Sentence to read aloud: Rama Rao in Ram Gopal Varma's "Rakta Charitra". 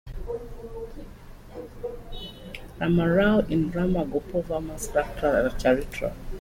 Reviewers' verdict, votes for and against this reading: rejected, 1, 2